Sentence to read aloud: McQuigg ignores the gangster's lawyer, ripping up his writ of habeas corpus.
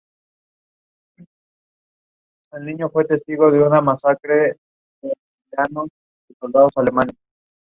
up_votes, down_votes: 0, 2